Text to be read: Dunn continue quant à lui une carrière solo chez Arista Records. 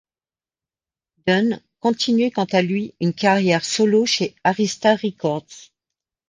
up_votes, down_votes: 2, 0